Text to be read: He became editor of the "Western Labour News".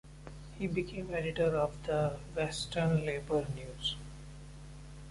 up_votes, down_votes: 2, 0